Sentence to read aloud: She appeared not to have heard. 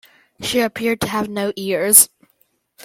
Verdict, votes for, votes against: rejected, 0, 2